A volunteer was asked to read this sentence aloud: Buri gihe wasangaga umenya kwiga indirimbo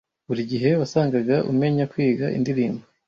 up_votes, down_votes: 2, 0